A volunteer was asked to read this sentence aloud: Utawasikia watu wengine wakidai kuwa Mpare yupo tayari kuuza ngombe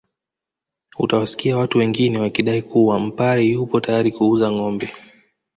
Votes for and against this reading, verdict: 2, 0, accepted